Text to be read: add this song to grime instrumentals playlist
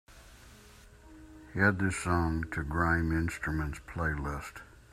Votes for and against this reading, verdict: 1, 2, rejected